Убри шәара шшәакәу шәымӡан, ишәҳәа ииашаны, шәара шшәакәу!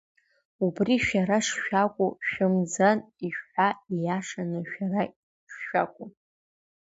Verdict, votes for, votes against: accepted, 2, 0